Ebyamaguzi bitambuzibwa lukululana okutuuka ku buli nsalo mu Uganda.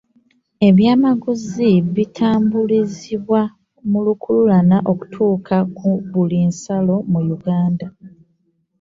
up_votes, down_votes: 1, 2